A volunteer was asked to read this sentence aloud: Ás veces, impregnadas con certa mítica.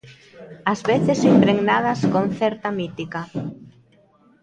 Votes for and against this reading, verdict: 0, 2, rejected